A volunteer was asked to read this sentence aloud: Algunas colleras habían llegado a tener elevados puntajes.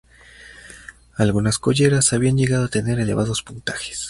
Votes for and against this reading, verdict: 2, 0, accepted